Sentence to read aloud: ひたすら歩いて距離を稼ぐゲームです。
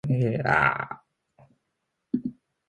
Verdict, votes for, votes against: rejected, 1, 2